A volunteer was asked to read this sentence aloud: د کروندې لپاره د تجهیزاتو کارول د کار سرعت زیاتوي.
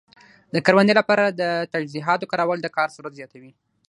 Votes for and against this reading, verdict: 3, 3, rejected